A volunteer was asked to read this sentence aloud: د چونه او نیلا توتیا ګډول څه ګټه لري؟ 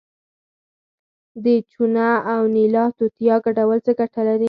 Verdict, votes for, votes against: accepted, 4, 0